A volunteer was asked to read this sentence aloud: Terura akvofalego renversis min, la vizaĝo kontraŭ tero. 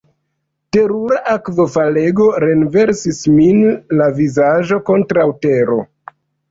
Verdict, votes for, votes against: accepted, 2, 0